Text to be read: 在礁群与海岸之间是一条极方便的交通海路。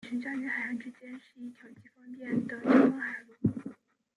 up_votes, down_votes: 0, 2